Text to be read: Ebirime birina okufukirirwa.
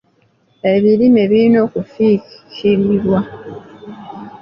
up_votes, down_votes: 1, 2